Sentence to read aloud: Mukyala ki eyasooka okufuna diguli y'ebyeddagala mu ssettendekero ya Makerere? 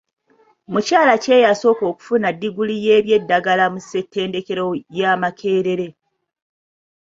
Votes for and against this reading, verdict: 2, 0, accepted